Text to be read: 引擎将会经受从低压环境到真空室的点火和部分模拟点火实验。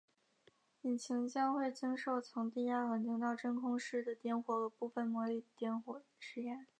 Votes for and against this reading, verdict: 4, 1, accepted